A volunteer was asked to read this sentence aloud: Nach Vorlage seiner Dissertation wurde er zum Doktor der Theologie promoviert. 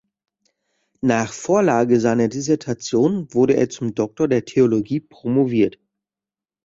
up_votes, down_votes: 2, 0